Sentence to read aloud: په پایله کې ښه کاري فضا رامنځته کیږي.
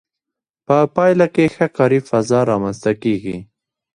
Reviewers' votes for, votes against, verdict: 0, 2, rejected